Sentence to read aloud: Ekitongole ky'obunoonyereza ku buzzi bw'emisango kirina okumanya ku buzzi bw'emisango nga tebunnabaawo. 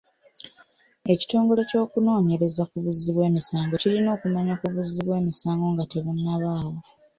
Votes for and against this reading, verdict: 3, 0, accepted